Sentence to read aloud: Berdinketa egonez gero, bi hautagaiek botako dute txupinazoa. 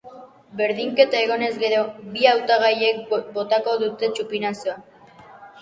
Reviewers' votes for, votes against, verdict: 2, 1, accepted